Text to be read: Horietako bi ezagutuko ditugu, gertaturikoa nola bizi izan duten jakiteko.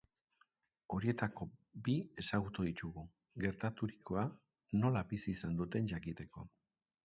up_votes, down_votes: 0, 2